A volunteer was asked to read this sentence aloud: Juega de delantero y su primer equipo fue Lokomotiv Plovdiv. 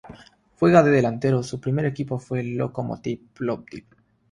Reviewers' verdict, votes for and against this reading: accepted, 3, 0